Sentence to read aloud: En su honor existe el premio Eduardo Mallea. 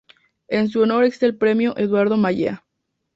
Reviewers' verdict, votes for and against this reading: rejected, 0, 4